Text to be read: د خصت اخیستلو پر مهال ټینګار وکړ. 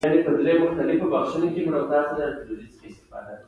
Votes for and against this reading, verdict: 2, 1, accepted